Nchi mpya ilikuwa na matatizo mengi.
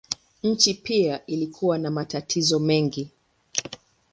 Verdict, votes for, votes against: accepted, 3, 0